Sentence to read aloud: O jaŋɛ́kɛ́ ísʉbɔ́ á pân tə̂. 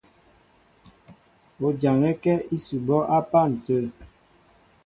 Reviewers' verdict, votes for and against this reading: accepted, 2, 0